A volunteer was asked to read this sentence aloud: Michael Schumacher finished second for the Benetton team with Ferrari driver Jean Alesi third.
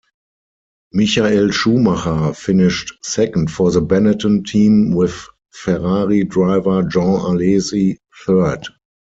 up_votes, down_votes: 4, 2